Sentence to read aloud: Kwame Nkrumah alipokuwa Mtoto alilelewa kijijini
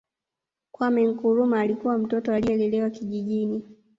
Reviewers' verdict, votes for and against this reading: rejected, 1, 2